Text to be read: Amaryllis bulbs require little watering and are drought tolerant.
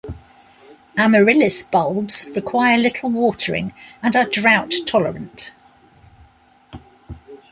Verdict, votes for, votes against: accepted, 3, 0